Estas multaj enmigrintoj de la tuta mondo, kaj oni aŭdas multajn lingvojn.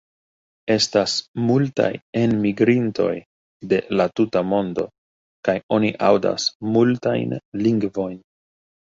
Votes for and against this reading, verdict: 2, 0, accepted